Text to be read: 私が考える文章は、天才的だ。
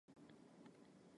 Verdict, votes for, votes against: rejected, 0, 2